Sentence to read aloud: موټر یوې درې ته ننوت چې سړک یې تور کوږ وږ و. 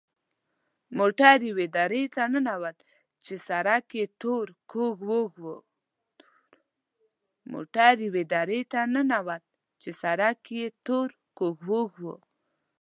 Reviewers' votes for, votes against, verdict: 1, 2, rejected